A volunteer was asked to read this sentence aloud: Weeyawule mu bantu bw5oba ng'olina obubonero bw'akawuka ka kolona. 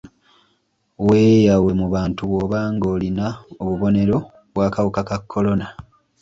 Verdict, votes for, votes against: rejected, 0, 2